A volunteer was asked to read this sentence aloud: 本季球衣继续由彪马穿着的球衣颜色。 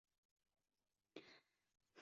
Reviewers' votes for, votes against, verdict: 0, 2, rejected